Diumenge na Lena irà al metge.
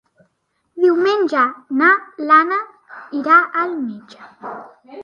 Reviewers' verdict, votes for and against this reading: rejected, 1, 2